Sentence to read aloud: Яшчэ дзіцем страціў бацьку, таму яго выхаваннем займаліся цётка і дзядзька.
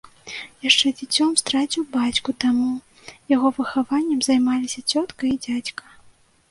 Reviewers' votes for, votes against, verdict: 3, 2, accepted